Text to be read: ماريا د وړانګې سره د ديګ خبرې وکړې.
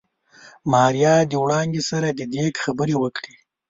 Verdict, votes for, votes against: accepted, 2, 0